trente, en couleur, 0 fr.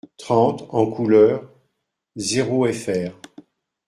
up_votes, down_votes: 0, 2